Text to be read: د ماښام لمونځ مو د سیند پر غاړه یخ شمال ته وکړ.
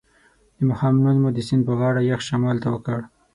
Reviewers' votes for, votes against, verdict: 6, 0, accepted